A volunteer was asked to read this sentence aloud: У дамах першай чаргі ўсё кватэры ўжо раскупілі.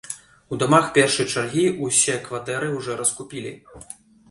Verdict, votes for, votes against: rejected, 0, 2